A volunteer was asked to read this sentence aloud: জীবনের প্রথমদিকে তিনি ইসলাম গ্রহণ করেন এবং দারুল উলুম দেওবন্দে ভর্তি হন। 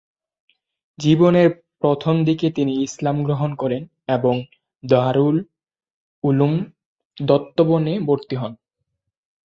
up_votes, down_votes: 1, 2